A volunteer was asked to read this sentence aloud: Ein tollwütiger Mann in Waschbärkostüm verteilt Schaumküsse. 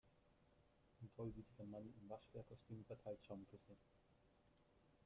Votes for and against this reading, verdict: 0, 2, rejected